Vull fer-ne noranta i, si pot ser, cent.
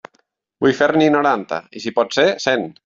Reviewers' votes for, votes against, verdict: 1, 2, rejected